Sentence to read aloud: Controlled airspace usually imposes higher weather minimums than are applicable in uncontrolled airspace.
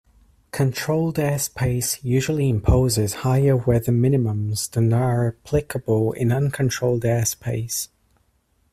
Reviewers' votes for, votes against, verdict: 2, 0, accepted